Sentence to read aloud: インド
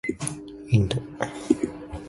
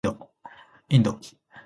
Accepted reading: second